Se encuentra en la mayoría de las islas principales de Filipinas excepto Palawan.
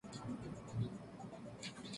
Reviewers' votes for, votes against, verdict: 0, 2, rejected